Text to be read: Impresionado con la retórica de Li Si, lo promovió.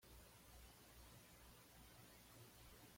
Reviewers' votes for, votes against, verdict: 1, 2, rejected